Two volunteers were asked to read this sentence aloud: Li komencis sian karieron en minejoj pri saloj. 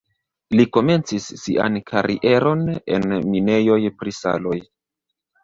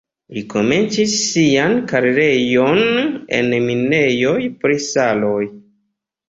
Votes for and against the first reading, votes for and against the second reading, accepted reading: 0, 2, 2, 0, second